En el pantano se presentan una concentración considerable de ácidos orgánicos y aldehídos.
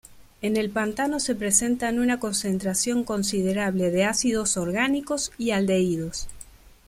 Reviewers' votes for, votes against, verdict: 2, 1, accepted